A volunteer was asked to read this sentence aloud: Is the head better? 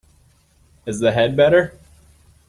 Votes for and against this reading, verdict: 3, 0, accepted